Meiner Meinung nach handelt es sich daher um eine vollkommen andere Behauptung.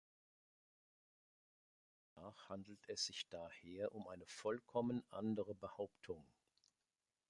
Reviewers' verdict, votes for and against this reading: rejected, 0, 2